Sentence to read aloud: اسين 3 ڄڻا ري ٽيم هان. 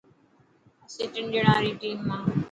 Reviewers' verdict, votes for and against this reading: rejected, 0, 2